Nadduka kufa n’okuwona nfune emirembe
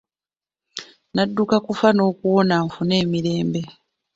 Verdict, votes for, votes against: rejected, 1, 2